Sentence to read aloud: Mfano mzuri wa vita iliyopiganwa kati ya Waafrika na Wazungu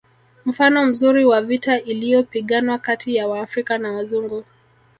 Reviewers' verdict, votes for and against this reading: rejected, 1, 2